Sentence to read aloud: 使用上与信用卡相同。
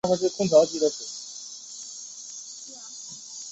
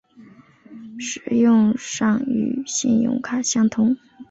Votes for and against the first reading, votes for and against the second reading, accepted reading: 0, 4, 4, 0, second